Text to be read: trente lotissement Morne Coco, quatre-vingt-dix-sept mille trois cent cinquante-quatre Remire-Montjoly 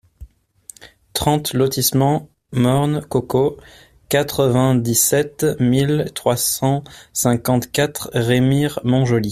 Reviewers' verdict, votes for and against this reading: accepted, 2, 0